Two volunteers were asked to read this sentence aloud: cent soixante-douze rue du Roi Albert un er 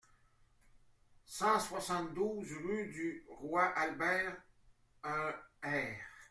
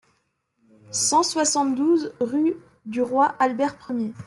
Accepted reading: first